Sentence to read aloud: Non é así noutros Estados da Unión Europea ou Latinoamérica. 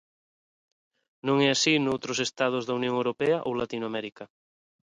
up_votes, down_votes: 3, 0